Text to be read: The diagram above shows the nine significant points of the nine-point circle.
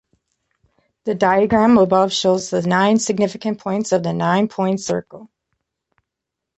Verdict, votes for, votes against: accepted, 2, 0